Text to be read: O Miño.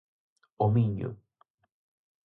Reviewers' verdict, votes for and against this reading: accepted, 4, 0